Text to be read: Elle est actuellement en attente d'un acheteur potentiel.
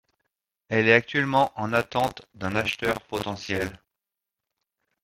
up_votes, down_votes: 2, 0